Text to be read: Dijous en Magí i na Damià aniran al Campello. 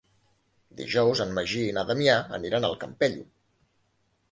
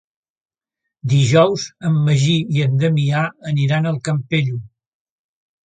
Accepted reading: first